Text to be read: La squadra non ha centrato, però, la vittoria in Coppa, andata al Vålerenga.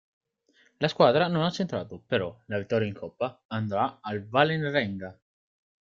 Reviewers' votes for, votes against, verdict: 2, 0, accepted